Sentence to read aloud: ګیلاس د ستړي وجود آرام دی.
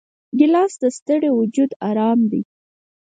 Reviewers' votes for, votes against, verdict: 4, 0, accepted